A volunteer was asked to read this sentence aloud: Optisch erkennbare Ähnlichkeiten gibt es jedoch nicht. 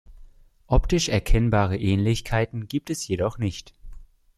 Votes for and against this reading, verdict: 2, 0, accepted